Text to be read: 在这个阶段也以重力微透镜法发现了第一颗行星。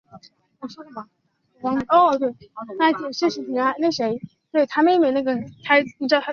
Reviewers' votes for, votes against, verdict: 0, 2, rejected